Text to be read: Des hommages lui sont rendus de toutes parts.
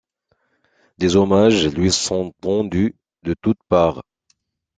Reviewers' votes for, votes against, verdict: 1, 2, rejected